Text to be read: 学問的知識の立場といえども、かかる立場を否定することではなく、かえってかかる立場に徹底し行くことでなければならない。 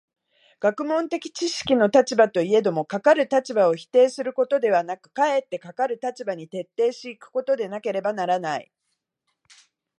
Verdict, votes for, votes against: accepted, 2, 0